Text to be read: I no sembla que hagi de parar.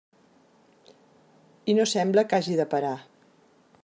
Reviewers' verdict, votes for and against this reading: accepted, 3, 0